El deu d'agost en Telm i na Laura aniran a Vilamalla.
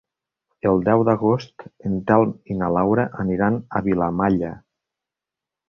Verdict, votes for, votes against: accepted, 3, 0